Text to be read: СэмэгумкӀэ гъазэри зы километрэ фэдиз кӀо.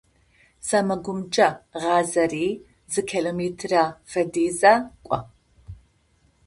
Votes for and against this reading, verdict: 0, 2, rejected